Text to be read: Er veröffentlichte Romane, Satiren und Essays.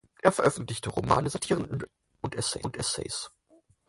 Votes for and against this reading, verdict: 0, 4, rejected